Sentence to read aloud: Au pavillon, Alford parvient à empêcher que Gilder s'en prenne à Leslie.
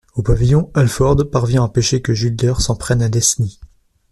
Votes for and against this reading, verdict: 0, 2, rejected